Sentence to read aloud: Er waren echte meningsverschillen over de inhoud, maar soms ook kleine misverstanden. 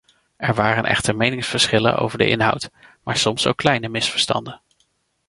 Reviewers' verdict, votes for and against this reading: accepted, 2, 0